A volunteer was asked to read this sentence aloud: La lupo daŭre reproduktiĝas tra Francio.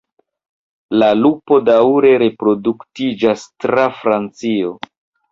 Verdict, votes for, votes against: accepted, 2, 0